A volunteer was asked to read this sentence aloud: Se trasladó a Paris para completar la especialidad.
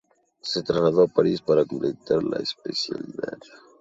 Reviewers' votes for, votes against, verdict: 2, 0, accepted